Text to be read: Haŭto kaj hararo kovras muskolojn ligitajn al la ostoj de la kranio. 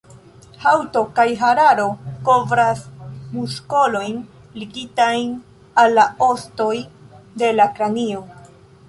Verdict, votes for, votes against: accepted, 2, 0